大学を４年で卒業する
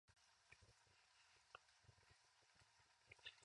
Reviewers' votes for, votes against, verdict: 0, 2, rejected